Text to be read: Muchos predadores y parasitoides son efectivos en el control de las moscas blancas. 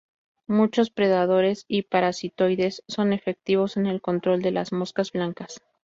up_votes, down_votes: 2, 0